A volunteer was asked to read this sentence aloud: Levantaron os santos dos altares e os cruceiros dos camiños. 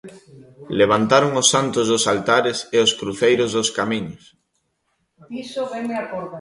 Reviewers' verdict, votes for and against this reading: rejected, 1, 2